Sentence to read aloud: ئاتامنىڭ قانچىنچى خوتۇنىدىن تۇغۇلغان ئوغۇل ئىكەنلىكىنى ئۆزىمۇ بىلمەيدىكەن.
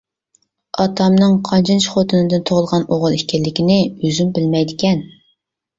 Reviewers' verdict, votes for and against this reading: accepted, 2, 0